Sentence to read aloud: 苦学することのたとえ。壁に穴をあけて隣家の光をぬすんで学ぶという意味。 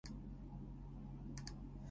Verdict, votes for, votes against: rejected, 1, 2